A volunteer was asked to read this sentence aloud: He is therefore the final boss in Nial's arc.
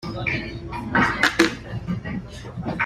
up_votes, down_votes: 0, 2